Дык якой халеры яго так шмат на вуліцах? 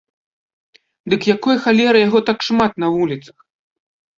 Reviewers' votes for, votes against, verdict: 1, 2, rejected